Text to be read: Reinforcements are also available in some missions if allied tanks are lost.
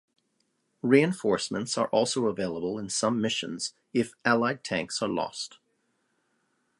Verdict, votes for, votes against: accepted, 2, 1